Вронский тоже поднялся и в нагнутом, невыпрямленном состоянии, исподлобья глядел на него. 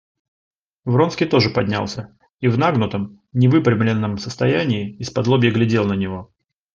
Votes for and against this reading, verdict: 2, 0, accepted